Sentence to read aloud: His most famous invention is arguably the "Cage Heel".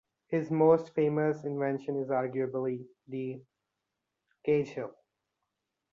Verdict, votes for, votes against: accepted, 2, 0